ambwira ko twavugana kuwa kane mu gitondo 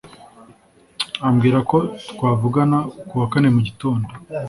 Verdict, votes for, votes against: accepted, 3, 0